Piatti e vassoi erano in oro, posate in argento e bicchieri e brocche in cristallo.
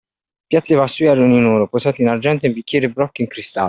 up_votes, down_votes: 1, 2